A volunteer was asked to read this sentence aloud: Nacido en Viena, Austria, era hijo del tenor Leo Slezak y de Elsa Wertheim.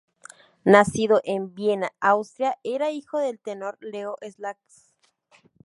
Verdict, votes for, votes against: rejected, 0, 2